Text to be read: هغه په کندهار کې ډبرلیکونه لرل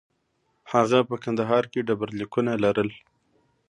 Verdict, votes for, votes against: accepted, 2, 0